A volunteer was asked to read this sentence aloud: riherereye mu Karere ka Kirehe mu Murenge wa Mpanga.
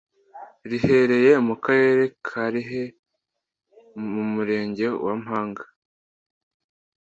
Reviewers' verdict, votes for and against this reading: rejected, 0, 2